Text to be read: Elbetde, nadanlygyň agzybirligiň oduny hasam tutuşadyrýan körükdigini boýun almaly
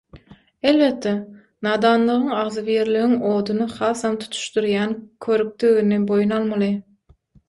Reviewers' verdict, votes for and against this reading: rejected, 3, 6